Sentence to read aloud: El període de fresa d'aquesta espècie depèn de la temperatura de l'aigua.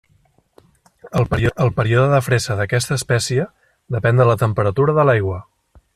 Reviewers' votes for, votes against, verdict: 0, 2, rejected